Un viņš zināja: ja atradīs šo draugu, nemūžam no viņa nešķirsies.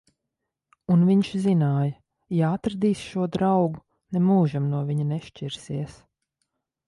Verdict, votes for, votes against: accepted, 2, 0